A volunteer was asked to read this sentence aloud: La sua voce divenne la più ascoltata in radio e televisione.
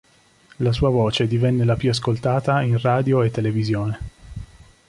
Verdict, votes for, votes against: accepted, 2, 0